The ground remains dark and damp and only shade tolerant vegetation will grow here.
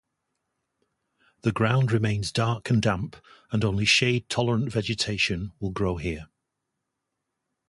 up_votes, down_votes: 4, 0